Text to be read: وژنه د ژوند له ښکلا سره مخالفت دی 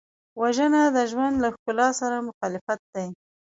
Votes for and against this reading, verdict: 3, 0, accepted